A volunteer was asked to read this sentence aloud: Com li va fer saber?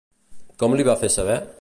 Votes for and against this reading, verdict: 2, 0, accepted